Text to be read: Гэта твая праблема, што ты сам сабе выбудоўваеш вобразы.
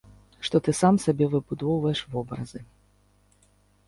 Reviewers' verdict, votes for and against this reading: rejected, 1, 2